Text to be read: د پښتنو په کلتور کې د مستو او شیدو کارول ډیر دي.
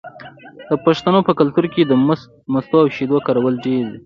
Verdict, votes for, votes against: rejected, 1, 2